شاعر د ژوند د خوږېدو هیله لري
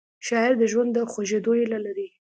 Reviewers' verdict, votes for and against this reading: accepted, 2, 0